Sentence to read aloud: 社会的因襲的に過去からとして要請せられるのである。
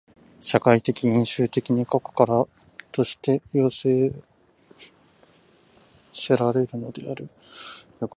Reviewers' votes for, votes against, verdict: 0, 2, rejected